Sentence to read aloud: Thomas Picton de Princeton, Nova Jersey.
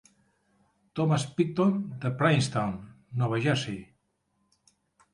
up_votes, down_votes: 1, 2